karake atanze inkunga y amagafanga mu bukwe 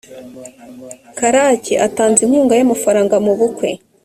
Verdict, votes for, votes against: accepted, 3, 0